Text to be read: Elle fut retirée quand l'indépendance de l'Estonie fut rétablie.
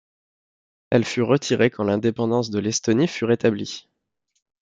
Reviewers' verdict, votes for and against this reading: accepted, 2, 0